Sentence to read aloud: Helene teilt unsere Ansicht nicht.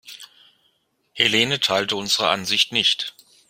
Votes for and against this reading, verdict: 1, 2, rejected